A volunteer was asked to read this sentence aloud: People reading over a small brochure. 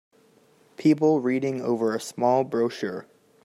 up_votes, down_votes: 3, 0